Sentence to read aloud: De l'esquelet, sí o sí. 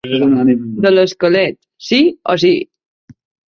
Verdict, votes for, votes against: rejected, 0, 2